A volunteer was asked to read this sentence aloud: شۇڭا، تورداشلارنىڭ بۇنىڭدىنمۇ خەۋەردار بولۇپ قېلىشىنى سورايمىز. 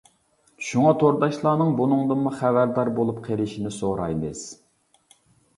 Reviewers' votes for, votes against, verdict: 2, 0, accepted